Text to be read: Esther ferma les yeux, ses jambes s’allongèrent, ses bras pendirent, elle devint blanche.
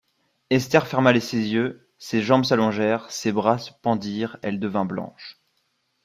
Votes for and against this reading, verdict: 1, 2, rejected